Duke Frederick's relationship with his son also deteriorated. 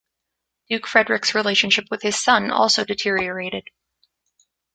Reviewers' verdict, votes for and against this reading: accepted, 2, 1